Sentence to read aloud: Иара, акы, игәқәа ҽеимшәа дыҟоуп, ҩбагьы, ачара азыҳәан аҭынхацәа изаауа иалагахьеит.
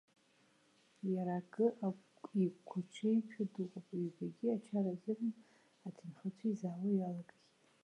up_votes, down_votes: 1, 2